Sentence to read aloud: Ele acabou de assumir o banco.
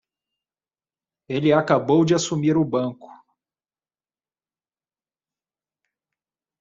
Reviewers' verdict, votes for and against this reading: accepted, 2, 0